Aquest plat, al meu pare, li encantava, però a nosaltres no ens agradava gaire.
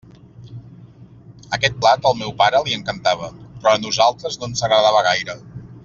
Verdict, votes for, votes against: rejected, 1, 2